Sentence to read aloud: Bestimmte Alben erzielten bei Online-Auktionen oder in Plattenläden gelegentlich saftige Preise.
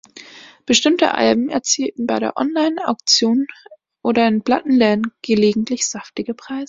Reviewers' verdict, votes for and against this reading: rejected, 0, 2